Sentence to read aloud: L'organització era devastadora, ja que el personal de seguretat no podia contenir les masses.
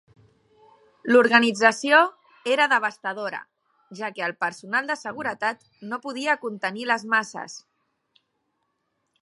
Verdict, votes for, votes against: accepted, 3, 0